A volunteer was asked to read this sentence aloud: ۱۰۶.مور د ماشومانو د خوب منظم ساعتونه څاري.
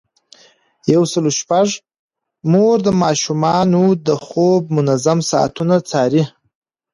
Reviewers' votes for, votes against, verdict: 0, 2, rejected